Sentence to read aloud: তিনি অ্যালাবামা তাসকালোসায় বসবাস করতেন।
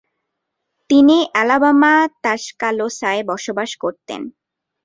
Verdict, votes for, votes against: accepted, 2, 1